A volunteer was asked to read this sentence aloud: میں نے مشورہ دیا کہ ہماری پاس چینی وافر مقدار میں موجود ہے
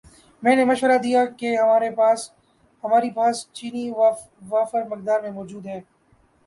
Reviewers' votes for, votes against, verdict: 2, 3, rejected